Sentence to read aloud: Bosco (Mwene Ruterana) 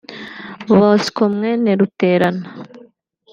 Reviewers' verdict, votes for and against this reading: accepted, 2, 0